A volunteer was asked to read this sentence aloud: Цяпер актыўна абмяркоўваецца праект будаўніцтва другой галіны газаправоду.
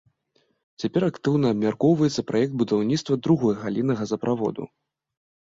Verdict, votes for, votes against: accepted, 2, 0